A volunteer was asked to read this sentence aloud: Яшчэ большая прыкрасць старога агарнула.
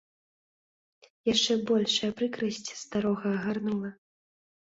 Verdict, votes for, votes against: accepted, 2, 0